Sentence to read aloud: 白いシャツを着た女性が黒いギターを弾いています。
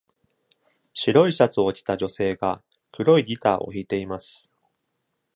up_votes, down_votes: 2, 0